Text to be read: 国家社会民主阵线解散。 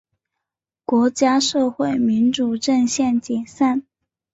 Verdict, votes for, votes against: accepted, 2, 0